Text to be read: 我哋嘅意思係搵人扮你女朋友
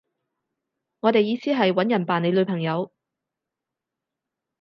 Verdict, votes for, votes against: rejected, 0, 4